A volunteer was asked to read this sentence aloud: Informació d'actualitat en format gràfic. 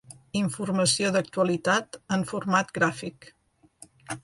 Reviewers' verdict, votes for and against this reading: accepted, 2, 0